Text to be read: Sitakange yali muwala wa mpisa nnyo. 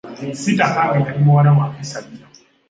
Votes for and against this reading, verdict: 2, 0, accepted